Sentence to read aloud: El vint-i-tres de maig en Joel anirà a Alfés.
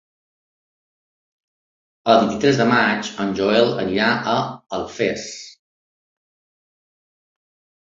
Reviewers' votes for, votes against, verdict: 5, 0, accepted